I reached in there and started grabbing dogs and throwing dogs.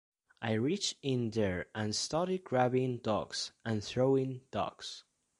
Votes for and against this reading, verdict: 2, 0, accepted